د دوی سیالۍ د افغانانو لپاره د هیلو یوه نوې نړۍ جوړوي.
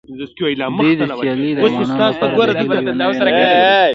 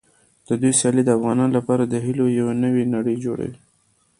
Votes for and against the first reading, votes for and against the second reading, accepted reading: 0, 2, 2, 1, second